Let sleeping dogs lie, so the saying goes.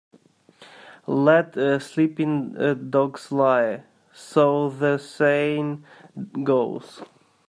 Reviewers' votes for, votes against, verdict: 1, 2, rejected